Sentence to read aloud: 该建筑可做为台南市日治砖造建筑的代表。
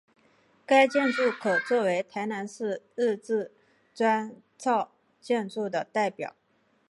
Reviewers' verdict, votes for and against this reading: accepted, 2, 0